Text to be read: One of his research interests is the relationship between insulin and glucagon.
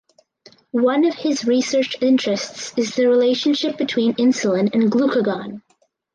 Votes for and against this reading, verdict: 4, 0, accepted